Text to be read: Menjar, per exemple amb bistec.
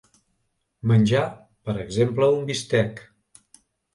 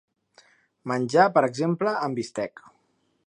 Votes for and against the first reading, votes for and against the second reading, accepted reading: 1, 2, 3, 0, second